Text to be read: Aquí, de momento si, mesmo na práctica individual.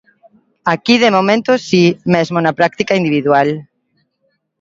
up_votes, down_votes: 2, 0